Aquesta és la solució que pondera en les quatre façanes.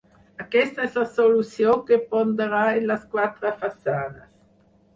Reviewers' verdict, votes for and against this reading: rejected, 2, 6